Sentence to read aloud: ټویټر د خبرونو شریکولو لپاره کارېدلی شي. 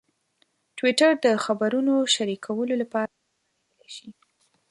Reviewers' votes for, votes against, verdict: 1, 2, rejected